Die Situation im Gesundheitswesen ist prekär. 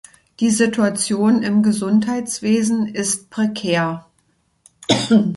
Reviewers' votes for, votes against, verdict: 1, 2, rejected